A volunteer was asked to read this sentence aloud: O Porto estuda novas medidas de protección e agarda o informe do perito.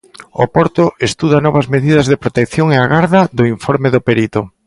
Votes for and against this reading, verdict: 0, 2, rejected